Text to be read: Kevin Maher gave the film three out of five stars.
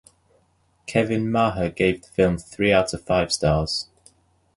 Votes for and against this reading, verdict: 2, 0, accepted